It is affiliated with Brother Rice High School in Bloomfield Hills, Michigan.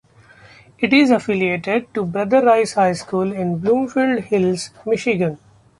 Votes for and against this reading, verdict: 1, 2, rejected